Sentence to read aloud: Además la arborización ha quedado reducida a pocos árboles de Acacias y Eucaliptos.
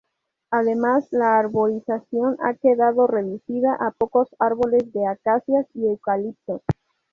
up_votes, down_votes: 2, 0